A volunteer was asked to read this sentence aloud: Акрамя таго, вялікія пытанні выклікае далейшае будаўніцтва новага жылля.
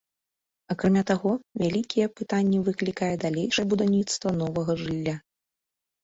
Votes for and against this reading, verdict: 2, 0, accepted